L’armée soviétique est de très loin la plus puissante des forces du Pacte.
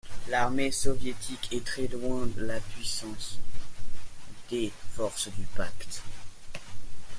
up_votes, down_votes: 0, 2